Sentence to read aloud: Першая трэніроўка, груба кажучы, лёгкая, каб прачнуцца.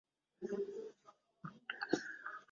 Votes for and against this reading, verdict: 0, 2, rejected